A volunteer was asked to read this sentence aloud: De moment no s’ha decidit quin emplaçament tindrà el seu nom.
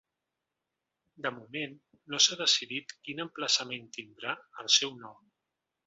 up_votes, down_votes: 3, 0